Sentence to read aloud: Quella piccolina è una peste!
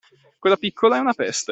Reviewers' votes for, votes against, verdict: 0, 2, rejected